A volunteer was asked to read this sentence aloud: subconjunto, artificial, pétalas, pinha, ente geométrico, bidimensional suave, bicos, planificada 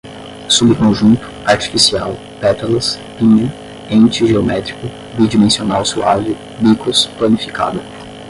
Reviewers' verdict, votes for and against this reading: rejected, 5, 5